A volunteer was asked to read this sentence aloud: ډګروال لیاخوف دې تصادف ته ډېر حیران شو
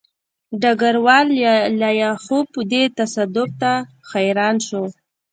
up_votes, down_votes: 0, 2